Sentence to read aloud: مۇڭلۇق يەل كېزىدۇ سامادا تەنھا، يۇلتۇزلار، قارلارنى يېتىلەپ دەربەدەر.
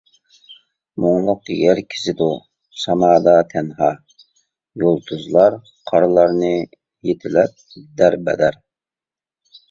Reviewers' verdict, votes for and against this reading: rejected, 1, 2